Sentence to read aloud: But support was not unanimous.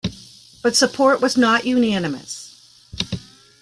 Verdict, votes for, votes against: accepted, 2, 1